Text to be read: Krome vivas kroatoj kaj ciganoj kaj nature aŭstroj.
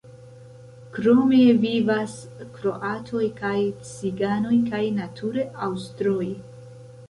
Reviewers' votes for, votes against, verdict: 0, 2, rejected